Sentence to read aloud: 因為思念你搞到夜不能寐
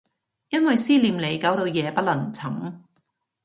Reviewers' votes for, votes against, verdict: 0, 2, rejected